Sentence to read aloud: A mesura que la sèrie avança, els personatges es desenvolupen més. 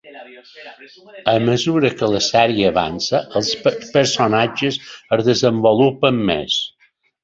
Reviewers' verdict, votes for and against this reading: rejected, 1, 2